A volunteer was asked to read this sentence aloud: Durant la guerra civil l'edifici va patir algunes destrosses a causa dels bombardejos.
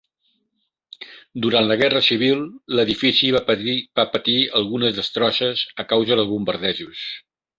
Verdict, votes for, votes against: rejected, 0, 2